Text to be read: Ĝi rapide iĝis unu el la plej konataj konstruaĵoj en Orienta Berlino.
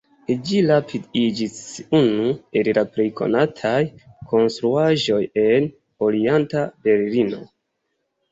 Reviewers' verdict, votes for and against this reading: rejected, 2, 3